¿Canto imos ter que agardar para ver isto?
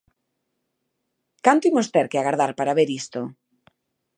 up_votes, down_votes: 2, 0